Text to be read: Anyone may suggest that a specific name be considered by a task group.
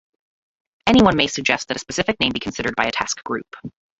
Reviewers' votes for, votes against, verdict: 1, 2, rejected